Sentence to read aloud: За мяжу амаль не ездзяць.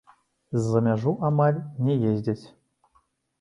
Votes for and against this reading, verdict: 2, 0, accepted